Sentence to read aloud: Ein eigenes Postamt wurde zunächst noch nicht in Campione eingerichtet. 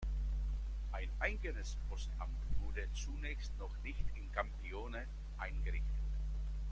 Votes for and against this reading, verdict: 1, 2, rejected